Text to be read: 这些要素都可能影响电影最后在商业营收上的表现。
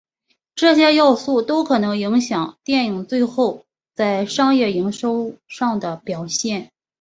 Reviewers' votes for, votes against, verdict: 2, 0, accepted